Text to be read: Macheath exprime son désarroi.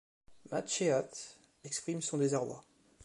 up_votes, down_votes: 3, 2